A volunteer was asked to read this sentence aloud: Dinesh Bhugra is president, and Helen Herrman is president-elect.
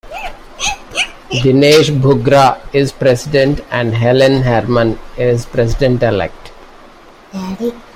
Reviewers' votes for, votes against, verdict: 1, 2, rejected